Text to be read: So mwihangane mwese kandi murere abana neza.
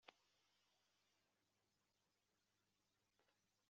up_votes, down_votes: 0, 2